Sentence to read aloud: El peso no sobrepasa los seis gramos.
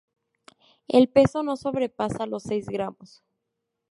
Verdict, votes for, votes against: accepted, 2, 0